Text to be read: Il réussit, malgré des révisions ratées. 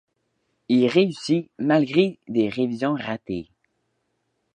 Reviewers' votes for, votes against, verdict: 2, 0, accepted